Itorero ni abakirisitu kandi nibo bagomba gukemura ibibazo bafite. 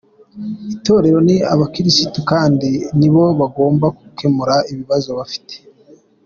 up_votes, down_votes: 2, 0